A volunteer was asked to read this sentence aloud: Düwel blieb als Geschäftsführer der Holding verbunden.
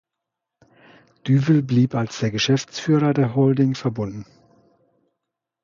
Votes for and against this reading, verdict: 0, 2, rejected